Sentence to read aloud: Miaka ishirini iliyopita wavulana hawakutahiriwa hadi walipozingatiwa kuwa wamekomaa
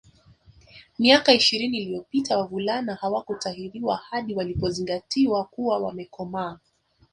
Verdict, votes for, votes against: rejected, 0, 2